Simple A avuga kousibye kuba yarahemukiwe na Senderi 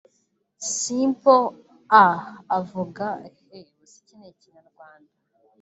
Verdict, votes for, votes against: rejected, 1, 2